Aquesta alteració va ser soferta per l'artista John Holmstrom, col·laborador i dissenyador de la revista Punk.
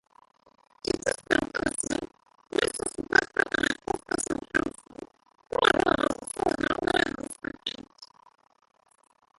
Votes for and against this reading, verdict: 0, 2, rejected